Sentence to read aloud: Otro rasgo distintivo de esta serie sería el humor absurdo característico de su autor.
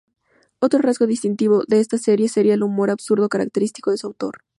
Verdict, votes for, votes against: accepted, 2, 0